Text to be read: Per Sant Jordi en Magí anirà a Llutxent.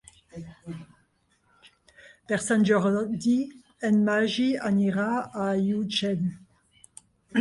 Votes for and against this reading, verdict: 0, 2, rejected